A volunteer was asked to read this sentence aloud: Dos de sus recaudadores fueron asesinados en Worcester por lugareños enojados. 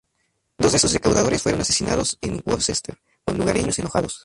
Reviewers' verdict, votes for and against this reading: rejected, 0, 2